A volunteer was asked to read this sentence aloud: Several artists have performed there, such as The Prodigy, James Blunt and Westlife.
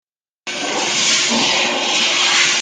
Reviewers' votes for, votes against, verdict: 0, 2, rejected